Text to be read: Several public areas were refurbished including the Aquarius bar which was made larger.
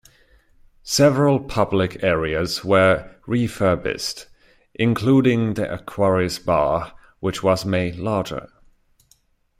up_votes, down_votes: 2, 0